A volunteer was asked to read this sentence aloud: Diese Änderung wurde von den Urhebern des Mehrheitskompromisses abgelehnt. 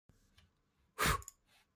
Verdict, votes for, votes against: rejected, 0, 2